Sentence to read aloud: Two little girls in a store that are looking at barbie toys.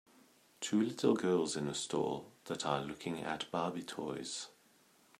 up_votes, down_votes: 2, 1